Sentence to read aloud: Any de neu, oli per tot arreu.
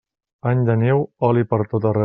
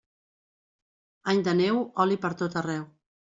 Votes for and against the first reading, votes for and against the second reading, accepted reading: 1, 2, 3, 0, second